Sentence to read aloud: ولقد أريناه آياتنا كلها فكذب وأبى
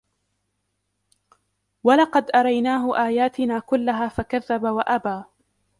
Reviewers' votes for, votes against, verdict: 2, 0, accepted